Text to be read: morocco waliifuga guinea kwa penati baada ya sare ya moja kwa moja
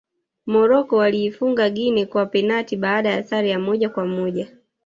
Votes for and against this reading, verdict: 1, 2, rejected